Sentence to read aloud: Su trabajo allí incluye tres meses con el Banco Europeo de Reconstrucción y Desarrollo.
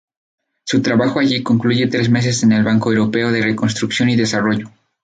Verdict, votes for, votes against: rejected, 0, 4